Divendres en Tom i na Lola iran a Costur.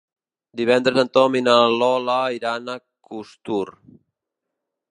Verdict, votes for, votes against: rejected, 0, 2